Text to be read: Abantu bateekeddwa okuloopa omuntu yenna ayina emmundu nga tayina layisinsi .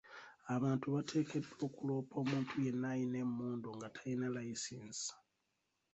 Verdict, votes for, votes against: accepted, 2, 0